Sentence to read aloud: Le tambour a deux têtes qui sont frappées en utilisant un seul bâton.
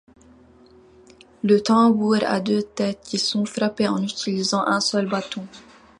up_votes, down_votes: 2, 0